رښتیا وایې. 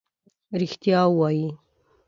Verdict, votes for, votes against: accepted, 2, 0